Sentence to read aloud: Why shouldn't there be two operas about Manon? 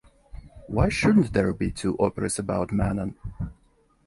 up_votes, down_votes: 2, 0